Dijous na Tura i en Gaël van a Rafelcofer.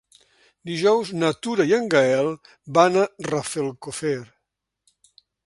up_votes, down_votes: 3, 0